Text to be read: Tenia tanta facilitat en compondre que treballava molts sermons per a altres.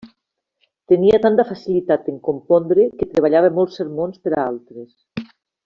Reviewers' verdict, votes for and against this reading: accepted, 2, 0